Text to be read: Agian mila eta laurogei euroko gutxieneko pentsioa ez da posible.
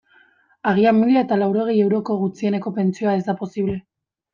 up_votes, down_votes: 2, 0